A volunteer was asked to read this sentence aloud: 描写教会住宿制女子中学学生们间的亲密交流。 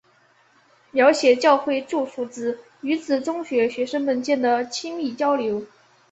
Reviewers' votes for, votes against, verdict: 2, 1, accepted